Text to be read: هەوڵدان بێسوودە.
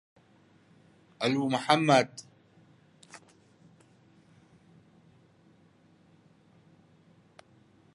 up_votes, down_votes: 0, 2